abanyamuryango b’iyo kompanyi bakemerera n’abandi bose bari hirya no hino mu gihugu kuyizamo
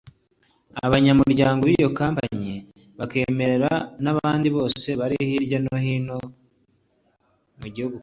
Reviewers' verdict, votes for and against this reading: rejected, 0, 2